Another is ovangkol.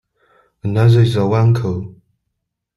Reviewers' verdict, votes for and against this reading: rejected, 1, 2